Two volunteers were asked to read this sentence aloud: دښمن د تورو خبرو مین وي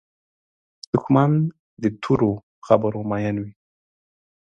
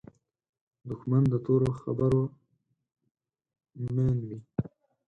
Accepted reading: first